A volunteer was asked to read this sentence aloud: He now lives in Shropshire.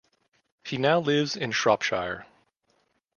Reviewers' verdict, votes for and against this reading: rejected, 0, 2